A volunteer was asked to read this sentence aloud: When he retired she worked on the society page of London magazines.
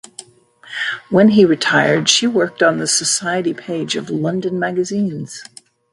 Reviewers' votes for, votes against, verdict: 2, 0, accepted